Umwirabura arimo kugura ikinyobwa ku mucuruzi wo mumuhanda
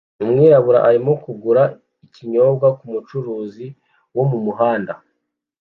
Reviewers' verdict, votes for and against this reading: accepted, 2, 0